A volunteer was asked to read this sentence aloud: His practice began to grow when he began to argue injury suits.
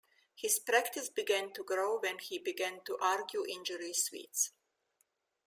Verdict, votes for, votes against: rejected, 0, 2